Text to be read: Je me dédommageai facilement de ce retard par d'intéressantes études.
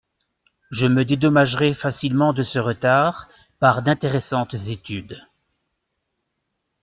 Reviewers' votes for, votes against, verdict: 1, 2, rejected